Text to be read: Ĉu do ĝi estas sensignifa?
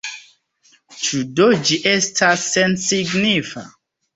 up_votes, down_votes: 2, 0